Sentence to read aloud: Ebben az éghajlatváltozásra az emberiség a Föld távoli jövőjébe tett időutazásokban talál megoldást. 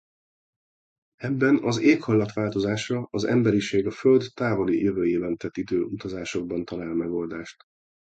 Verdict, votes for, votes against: rejected, 0, 2